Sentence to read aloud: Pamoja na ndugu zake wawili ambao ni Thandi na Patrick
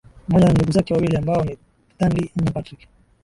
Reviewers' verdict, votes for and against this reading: accepted, 3, 2